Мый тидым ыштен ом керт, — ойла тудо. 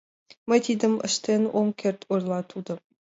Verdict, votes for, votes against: accepted, 3, 0